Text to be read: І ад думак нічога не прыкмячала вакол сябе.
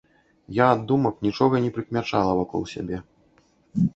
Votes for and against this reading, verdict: 0, 2, rejected